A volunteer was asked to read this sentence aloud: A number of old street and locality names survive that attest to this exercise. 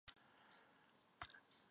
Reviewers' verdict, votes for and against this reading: rejected, 0, 2